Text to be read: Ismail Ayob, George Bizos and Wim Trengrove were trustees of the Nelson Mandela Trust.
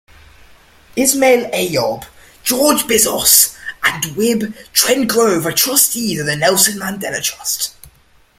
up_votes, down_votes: 2, 3